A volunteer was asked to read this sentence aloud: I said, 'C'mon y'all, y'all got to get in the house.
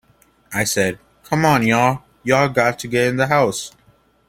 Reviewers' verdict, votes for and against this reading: accepted, 2, 0